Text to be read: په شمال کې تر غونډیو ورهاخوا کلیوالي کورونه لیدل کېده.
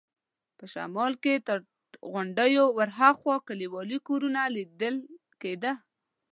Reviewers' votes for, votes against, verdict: 2, 0, accepted